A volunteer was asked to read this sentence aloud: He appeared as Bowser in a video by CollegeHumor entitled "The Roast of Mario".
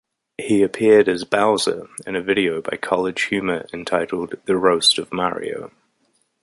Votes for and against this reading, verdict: 2, 0, accepted